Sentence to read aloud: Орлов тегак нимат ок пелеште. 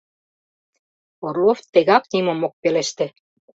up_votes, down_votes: 1, 2